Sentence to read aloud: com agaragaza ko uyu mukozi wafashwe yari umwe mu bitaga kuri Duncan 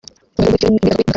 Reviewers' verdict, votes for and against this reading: rejected, 0, 2